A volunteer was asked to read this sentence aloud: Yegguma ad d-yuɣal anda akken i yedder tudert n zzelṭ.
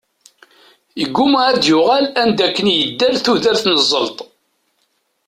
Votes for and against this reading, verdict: 2, 0, accepted